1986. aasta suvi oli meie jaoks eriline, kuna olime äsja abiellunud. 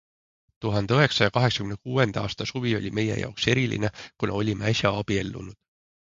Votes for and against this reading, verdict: 0, 2, rejected